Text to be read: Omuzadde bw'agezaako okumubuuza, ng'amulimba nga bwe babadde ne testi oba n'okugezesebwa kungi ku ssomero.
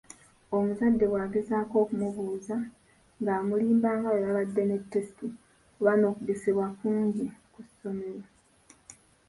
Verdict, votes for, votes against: rejected, 1, 2